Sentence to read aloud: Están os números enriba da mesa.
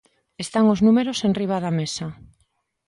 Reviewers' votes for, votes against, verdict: 2, 0, accepted